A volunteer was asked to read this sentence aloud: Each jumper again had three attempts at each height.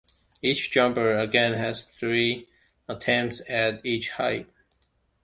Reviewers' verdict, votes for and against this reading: accepted, 2, 0